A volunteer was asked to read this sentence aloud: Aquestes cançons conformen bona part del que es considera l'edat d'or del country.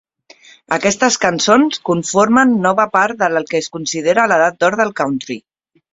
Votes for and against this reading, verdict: 1, 2, rejected